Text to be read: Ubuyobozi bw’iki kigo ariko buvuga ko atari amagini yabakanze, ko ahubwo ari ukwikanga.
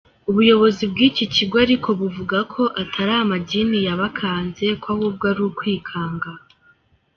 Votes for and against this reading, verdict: 1, 2, rejected